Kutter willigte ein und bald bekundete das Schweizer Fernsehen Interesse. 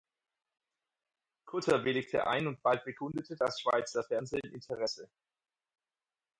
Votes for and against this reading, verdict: 4, 0, accepted